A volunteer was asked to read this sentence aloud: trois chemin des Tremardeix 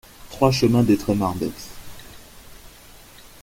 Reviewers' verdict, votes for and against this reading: accepted, 2, 0